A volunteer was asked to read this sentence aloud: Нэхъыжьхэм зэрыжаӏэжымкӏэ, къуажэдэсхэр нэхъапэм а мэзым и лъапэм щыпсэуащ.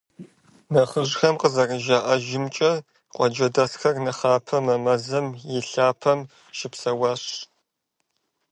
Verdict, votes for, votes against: rejected, 0, 2